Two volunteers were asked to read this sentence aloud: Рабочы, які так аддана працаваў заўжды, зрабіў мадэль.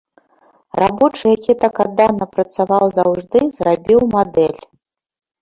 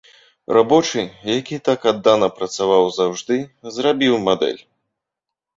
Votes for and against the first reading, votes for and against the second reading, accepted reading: 1, 2, 2, 0, second